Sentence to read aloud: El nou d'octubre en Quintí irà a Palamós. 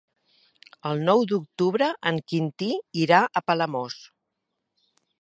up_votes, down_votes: 3, 0